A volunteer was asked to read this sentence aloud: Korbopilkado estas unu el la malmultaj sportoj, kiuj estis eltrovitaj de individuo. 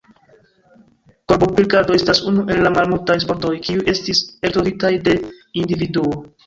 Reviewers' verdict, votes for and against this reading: rejected, 1, 2